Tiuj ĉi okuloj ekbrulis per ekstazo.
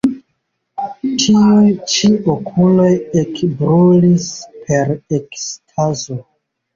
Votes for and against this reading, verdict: 1, 2, rejected